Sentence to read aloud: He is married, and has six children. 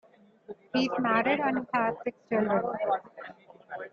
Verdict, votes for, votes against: rejected, 1, 2